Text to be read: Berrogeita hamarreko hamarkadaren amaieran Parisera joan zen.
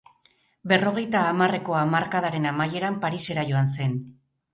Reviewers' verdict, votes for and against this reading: accepted, 6, 0